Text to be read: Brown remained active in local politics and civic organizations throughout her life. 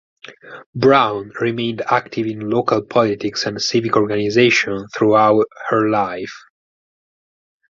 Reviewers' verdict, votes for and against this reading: rejected, 0, 4